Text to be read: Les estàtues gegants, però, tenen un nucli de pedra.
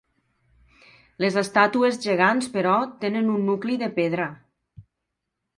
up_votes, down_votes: 3, 0